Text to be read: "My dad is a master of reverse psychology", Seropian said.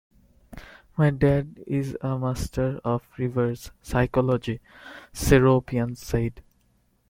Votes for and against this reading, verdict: 1, 2, rejected